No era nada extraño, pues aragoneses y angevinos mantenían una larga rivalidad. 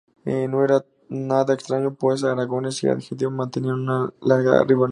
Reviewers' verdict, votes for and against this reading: rejected, 0, 2